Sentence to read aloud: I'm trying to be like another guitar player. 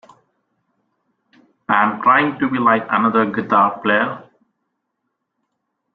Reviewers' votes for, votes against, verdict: 2, 0, accepted